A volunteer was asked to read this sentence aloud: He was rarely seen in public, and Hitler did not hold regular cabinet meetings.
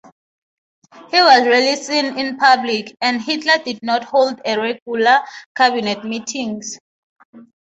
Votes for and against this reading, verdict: 3, 0, accepted